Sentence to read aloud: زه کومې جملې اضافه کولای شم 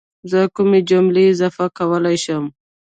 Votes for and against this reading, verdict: 1, 2, rejected